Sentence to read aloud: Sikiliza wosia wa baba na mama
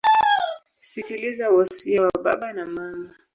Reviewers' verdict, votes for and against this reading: rejected, 1, 3